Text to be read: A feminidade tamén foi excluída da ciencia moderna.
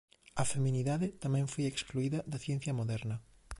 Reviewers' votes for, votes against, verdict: 2, 0, accepted